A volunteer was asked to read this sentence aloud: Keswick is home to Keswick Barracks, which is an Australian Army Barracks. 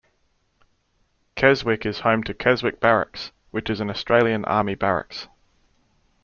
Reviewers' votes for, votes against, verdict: 2, 0, accepted